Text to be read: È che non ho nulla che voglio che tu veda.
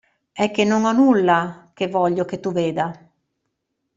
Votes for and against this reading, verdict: 2, 0, accepted